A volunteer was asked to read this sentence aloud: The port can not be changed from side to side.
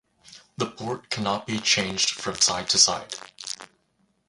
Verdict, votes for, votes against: rejected, 2, 2